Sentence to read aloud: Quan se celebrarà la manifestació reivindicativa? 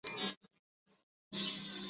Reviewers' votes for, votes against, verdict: 1, 3, rejected